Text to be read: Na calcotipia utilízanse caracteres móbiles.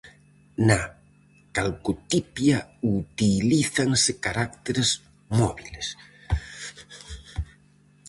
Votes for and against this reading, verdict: 0, 4, rejected